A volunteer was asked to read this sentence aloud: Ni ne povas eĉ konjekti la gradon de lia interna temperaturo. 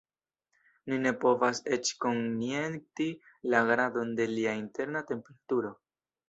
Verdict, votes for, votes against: accepted, 2, 0